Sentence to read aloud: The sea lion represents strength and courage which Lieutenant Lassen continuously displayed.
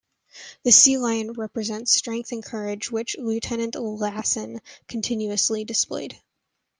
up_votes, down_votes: 2, 0